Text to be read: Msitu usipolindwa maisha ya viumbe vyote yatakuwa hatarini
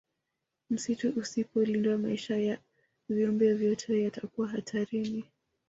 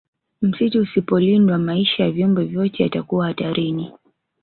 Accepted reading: second